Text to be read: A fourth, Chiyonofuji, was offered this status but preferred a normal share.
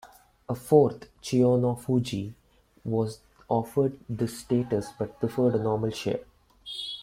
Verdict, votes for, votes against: accepted, 2, 0